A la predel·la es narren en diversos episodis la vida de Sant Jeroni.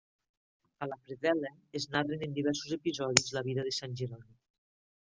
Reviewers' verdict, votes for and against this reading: accepted, 2, 0